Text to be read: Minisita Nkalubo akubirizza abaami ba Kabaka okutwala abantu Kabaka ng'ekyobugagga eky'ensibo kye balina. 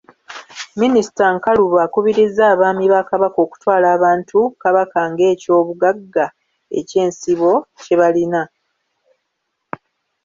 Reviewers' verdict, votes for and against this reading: accepted, 2, 0